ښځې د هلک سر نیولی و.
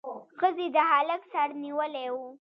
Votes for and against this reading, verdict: 2, 1, accepted